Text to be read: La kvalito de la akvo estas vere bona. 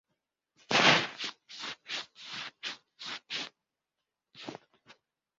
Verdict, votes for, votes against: rejected, 0, 2